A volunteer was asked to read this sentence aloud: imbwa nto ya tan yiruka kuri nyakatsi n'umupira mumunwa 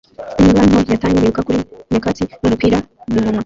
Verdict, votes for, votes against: rejected, 0, 2